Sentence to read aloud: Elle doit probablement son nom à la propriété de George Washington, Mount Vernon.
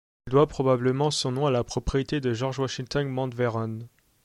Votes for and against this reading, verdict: 0, 2, rejected